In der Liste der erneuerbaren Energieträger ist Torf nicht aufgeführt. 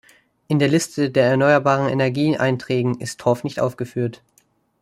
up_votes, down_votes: 0, 2